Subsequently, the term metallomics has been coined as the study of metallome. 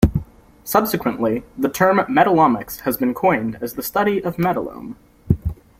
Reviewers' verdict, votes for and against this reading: rejected, 0, 2